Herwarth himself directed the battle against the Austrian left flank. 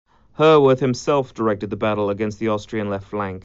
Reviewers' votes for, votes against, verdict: 2, 1, accepted